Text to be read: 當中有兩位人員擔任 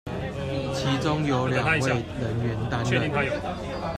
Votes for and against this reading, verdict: 0, 2, rejected